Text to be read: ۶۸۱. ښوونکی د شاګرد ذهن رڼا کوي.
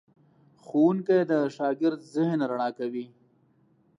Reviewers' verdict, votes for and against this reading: rejected, 0, 2